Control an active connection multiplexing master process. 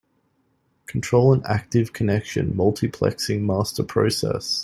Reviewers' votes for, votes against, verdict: 2, 0, accepted